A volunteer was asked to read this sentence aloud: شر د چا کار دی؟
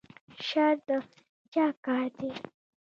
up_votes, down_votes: 2, 0